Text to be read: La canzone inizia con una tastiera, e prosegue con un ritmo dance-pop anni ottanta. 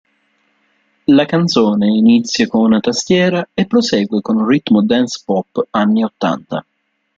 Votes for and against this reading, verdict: 2, 0, accepted